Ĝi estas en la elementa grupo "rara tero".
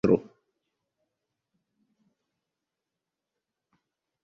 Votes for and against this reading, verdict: 0, 2, rejected